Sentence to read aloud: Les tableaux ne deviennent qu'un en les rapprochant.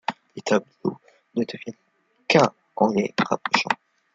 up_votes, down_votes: 1, 2